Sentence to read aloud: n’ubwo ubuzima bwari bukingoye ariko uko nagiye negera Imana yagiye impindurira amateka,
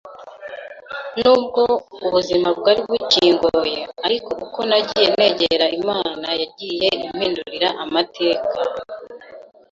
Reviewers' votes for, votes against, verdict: 2, 0, accepted